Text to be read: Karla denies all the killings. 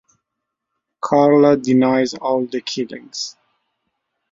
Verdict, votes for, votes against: accepted, 2, 0